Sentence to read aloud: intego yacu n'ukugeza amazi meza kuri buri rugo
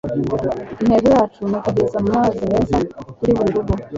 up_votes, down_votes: 1, 2